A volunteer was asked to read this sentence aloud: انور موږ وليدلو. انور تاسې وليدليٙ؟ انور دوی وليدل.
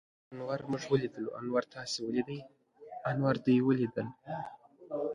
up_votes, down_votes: 1, 2